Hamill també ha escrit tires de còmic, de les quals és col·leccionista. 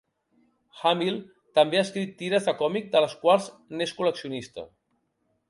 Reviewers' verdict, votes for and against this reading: rejected, 0, 2